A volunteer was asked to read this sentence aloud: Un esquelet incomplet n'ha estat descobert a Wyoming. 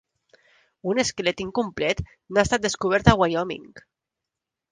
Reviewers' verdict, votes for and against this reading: accepted, 2, 1